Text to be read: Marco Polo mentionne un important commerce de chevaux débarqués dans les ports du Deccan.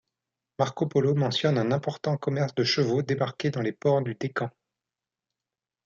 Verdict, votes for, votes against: accepted, 2, 0